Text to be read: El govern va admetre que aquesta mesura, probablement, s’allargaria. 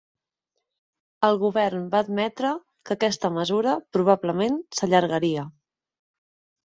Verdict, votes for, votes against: accepted, 5, 0